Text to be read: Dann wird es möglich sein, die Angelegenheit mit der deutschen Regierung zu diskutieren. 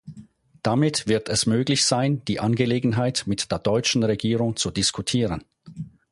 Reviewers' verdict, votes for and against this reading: rejected, 0, 4